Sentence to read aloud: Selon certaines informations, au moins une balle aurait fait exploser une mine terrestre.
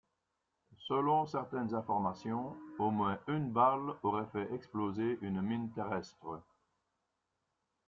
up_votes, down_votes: 1, 2